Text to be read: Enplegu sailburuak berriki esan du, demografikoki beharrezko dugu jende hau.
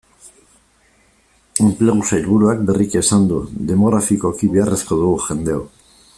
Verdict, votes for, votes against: rejected, 1, 2